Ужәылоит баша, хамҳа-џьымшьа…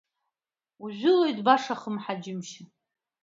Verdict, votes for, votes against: rejected, 1, 2